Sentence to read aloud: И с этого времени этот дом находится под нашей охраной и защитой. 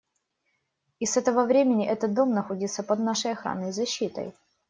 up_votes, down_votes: 2, 0